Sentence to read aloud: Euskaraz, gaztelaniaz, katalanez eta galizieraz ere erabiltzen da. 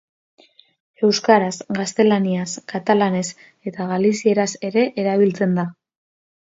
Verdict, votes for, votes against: accepted, 2, 0